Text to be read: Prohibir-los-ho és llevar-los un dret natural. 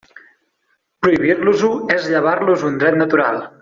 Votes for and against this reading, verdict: 3, 0, accepted